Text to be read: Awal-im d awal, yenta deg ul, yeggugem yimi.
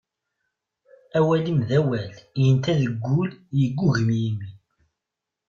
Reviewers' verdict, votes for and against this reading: accepted, 2, 0